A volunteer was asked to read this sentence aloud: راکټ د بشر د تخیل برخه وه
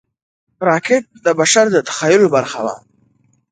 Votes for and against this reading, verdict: 2, 0, accepted